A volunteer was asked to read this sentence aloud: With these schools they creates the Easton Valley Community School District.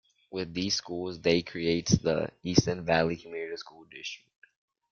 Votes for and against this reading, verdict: 2, 0, accepted